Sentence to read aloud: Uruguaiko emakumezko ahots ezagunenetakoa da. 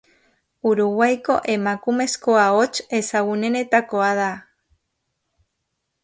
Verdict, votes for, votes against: accepted, 3, 0